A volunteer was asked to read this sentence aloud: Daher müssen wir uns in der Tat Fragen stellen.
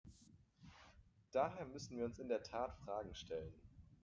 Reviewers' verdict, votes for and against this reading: accepted, 2, 1